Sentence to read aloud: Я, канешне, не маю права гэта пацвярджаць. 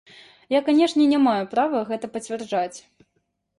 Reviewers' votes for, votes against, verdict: 1, 2, rejected